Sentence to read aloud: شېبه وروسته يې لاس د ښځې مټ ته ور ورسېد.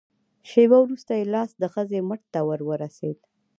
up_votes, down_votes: 2, 0